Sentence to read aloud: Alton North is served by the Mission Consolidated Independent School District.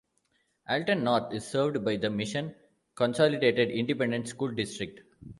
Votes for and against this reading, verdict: 2, 1, accepted